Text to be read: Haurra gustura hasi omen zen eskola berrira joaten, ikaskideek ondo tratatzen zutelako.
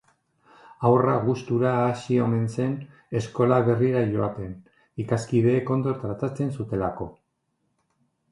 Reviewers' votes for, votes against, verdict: 3, 0, accepted